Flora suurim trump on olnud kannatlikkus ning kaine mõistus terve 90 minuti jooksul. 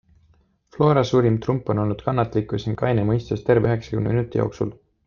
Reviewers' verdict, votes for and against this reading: rejected, 0, 2